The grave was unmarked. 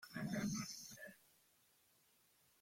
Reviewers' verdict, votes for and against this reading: rejected, 0, 2